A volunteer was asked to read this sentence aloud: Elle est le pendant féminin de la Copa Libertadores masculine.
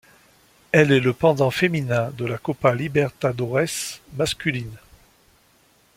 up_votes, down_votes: 2, 0